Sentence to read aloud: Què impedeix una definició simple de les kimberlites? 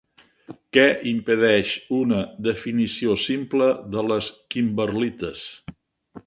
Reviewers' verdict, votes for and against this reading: accepted, 3, 0